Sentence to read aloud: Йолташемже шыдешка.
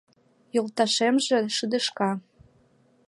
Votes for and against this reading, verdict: 2, 0, accepted